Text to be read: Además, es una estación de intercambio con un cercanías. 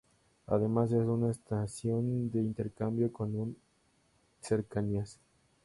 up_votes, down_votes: 2, 0